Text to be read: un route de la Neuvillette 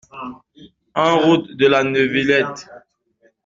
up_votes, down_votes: 2, 0